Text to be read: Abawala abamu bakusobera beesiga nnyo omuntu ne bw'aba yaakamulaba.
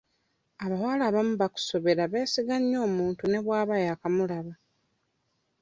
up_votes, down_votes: 2, 0